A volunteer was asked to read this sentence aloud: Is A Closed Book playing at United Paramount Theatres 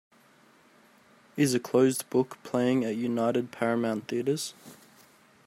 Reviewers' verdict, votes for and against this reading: accepted, 2, 0